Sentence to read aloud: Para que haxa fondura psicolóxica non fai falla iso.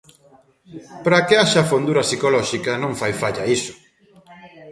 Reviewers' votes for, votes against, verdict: 2, 0, accepted